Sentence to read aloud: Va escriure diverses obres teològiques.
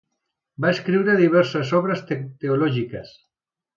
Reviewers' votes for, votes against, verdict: 0, 3, rejected